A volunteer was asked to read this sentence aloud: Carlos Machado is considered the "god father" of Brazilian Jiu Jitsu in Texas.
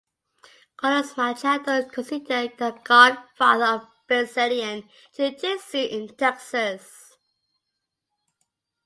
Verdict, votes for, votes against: accepted, 2, 1